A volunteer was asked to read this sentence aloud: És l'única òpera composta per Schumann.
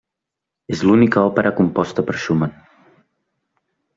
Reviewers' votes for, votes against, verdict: 3, 0, accepted